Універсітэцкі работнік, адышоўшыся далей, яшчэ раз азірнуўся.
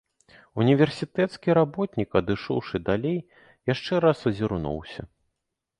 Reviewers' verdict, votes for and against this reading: rejected, 0, 2